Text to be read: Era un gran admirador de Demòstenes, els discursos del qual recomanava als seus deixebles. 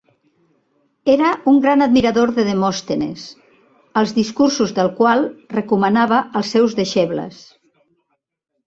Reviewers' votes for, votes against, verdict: 2, 0, accepted